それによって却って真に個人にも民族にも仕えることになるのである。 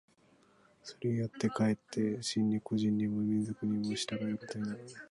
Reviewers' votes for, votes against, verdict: 0, 2, rejected